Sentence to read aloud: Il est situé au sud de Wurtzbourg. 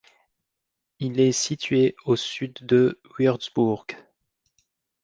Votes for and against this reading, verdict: 0, 2, rejected